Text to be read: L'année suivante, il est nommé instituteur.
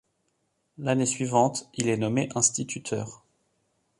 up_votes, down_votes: 2, 0